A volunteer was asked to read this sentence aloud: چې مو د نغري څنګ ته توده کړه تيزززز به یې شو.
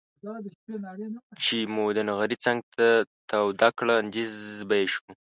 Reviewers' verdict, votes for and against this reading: rejected, 0, 2